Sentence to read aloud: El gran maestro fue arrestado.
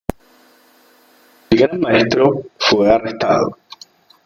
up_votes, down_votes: 0, 2